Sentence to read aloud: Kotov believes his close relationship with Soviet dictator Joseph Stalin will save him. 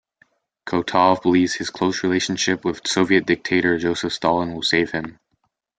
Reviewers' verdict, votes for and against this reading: accepted, 2, 0